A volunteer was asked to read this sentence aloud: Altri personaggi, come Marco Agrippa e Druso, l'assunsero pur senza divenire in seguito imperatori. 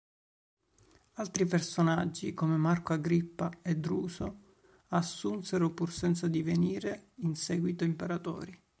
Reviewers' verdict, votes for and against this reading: rejected, 1, 2